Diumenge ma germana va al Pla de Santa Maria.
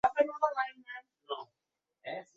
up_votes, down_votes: 0, 2